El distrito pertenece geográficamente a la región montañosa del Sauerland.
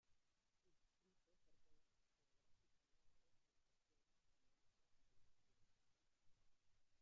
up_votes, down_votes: 0, 2